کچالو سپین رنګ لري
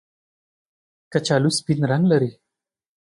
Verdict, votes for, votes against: accepted, 2, 0